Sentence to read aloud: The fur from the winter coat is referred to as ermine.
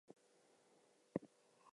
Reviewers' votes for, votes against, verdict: 2, 2, rejected